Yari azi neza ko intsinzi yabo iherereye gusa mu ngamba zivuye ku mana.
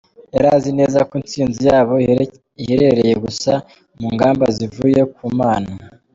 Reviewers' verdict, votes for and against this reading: rejected, 1, 2